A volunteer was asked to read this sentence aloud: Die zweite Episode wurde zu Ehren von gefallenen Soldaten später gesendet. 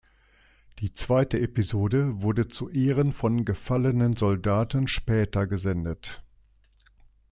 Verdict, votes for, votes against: accepted, 2, 0